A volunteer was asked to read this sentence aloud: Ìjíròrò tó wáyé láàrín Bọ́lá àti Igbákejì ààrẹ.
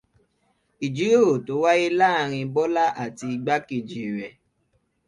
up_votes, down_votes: 1, 2